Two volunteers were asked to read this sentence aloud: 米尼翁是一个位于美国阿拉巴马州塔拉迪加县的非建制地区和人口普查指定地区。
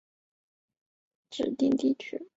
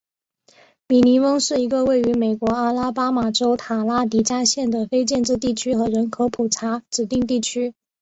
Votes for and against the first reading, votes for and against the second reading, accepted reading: 0, 2, 4, 0, second